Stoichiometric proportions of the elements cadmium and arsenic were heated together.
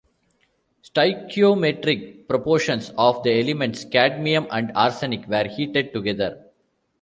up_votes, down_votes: 2, 1